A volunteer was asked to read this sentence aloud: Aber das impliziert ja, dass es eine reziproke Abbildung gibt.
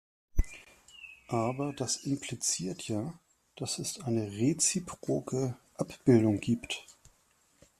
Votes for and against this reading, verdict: 2, 0, accepted